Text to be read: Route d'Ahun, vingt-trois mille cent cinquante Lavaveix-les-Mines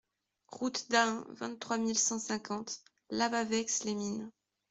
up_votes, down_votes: 2, 0